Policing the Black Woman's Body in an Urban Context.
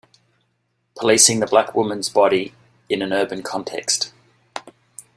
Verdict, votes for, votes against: accepted, 2, 0